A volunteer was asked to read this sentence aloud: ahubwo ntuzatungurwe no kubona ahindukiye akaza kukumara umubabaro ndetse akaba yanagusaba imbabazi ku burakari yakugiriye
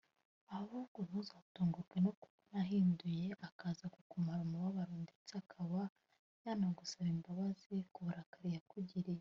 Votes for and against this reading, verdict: 1, 2, rejected